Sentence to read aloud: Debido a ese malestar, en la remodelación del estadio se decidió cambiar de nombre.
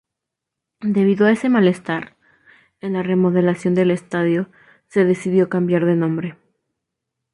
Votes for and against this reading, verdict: 2, 0, accepted